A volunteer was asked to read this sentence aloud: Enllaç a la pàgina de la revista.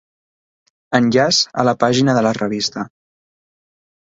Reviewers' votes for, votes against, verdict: 2, 0, accepted